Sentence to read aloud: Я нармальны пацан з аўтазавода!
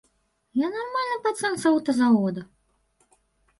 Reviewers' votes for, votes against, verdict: 1, 2, rejected